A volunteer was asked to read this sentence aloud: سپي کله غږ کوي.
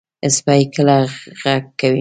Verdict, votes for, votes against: accepted, 2, 0